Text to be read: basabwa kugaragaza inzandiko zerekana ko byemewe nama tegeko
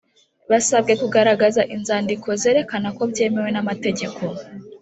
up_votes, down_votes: 2, 0